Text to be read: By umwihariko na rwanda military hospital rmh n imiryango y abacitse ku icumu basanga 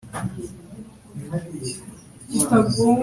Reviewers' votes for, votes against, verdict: 0, 2, rejected